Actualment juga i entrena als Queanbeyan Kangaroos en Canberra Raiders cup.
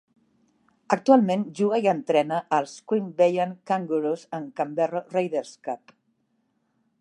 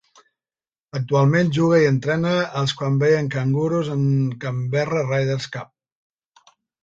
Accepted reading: first